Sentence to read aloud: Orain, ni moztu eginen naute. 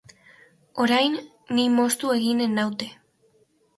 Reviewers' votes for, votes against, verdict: 2, 0, accepted